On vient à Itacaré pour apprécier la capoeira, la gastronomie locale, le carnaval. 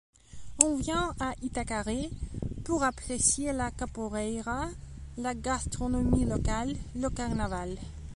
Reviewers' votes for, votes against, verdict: 2, 1, accepted